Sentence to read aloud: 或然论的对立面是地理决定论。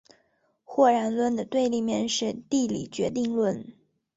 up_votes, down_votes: 4, 0